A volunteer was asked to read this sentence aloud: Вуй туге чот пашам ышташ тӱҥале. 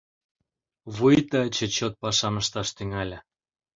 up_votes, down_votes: 1, 2